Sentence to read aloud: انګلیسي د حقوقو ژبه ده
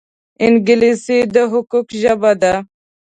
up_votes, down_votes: 2, 0